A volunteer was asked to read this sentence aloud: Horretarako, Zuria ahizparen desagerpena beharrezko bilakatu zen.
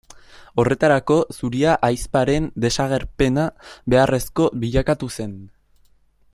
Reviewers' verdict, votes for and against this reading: rejected, 1, 2